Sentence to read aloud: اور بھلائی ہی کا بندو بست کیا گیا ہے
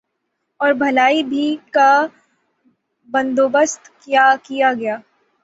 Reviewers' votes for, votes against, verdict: 0, 6, rejected